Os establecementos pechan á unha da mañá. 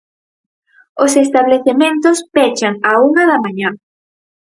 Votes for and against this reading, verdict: 4, 0, accepted